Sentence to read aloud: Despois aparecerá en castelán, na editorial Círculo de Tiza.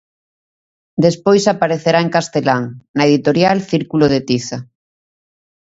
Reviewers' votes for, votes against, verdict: 2, 0, accepted